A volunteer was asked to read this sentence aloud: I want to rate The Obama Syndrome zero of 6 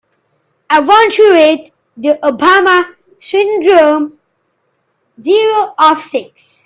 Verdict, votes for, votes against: rejected, 0, 2